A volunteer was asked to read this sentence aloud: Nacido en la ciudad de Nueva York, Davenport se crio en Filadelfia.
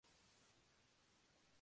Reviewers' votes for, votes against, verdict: 0, 2, rejected